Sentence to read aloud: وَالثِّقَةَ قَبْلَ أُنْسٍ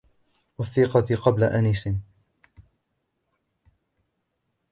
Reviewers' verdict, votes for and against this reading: rejected, 1, 2